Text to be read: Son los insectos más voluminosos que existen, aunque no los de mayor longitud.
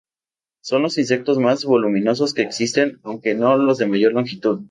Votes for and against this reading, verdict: 2, 0, accepted